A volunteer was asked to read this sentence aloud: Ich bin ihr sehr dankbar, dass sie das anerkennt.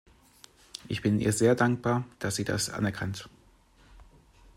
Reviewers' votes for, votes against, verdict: 1, 2, rejected